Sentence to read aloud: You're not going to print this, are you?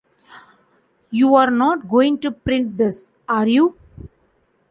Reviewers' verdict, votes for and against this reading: accepted, 2, 0